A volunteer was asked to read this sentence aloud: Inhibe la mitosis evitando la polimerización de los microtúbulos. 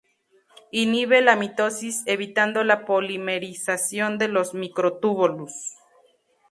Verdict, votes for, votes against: rejected, 0, 2